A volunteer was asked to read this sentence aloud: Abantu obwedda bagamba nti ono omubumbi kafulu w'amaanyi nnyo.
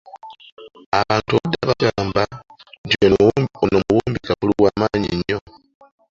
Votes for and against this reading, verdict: 0, 2, rejected